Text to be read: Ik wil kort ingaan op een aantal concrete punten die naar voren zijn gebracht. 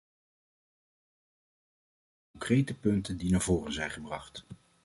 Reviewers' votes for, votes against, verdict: 0, 2, rejected